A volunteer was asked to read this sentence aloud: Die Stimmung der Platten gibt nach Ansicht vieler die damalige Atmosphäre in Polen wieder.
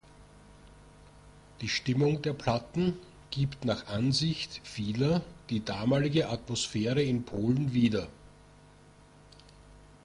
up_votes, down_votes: 2, 0